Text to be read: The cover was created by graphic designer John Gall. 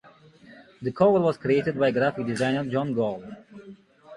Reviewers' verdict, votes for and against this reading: accepted, 9, 0